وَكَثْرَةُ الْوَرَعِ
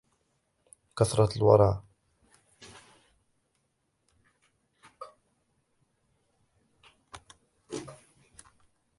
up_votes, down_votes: 0, 2